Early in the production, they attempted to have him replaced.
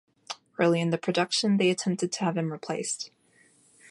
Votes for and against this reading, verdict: 2, 0, accepted